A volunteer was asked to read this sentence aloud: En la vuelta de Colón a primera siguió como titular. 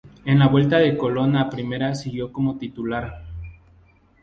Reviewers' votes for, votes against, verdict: 2, 0, accepted